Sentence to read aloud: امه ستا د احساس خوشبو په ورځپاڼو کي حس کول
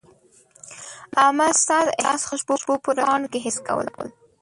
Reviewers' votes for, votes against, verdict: 1, 2, rejected